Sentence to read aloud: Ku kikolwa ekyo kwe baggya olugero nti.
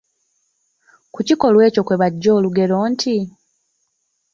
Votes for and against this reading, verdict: 0, 3, rejected